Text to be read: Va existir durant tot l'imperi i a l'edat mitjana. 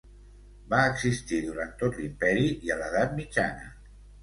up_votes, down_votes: 2, 0